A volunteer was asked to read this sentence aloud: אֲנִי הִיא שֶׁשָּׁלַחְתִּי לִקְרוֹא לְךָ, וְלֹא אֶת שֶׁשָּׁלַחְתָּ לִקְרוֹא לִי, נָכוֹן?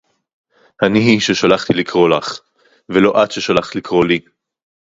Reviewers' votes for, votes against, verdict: 2, 0, accepted